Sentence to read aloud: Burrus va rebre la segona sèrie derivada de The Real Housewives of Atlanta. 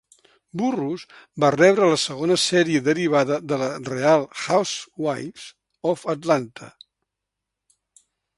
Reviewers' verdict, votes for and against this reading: rejected, 1, 2